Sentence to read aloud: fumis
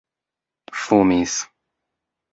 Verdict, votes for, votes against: accepted, 2, 0